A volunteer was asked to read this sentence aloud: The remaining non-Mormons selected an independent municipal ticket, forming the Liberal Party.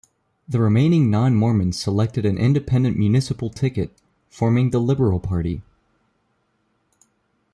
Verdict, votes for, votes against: accepted, 2, 0